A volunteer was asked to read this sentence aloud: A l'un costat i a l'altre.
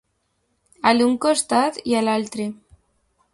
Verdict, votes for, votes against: accepted, 2, 0